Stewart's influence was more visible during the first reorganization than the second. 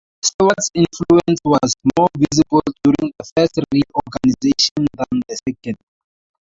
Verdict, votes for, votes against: accepted, 2, 0